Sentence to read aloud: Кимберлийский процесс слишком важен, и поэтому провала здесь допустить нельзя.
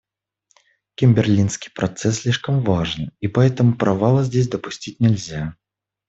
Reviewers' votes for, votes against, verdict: 0, 2, rejected